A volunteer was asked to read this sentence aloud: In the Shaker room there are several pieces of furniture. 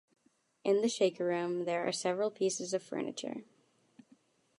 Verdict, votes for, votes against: accepted, 2, 0